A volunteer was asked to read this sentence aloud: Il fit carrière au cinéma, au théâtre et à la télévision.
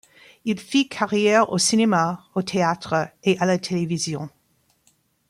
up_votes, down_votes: 2, 0